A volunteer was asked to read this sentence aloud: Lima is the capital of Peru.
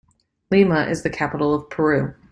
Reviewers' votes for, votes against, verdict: 2, 0, accepted